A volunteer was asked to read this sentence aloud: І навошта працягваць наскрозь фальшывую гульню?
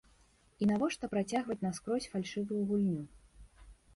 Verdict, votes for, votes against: accepted, 2, 0